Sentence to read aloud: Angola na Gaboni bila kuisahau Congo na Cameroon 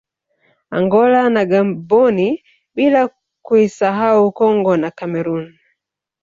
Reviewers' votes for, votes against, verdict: 0, 2, rejected